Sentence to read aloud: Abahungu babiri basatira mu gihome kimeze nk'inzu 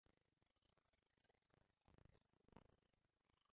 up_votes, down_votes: 0, 2